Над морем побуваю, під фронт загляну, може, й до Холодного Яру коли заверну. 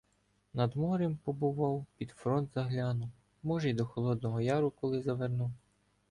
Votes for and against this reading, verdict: 1, 2, rejected